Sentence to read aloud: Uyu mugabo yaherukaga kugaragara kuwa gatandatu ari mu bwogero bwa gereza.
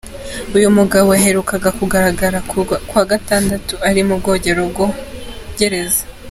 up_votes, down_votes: 0, 2